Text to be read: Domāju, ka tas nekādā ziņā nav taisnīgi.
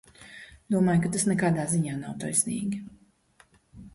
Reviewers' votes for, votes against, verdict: 2, 0, accepted